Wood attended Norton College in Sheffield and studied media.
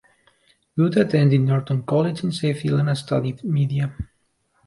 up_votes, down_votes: 2, 1